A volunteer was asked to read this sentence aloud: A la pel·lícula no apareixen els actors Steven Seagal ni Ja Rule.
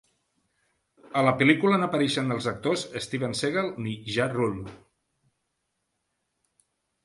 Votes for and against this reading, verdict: 0, 2, rejected